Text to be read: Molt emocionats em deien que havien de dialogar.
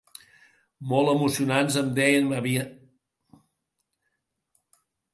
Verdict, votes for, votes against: rejected, 0, 4